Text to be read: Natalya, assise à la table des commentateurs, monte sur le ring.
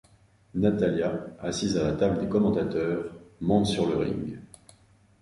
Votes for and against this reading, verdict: 3, 0, accepted